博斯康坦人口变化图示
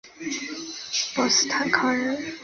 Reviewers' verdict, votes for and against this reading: rejected, 0, 2